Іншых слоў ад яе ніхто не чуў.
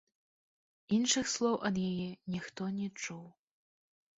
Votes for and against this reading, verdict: 1, 2, rejected